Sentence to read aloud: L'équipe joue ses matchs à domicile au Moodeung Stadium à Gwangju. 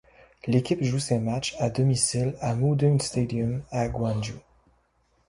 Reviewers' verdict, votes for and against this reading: rejected, 0, 2